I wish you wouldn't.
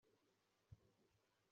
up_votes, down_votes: 0, 2